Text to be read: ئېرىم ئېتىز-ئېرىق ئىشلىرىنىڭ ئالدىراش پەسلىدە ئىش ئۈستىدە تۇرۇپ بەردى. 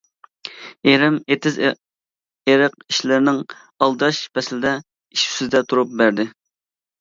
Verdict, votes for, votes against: rejected, 1, 2